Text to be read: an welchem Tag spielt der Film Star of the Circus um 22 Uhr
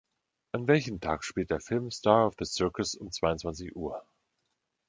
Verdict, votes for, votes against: rejected, 0, 2